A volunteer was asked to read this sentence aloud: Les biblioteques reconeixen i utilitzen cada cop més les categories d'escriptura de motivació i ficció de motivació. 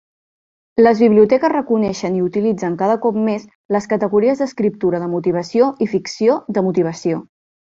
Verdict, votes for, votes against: accepted, 3, 0